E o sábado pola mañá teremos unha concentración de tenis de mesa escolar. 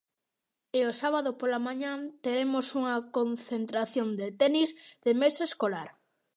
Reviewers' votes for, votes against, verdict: 0, 2, rejected